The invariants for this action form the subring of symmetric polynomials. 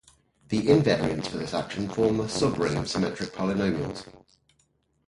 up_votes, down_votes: 4, 0